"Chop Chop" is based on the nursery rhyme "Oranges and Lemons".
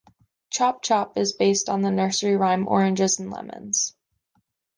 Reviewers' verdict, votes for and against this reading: accepted, 2, 0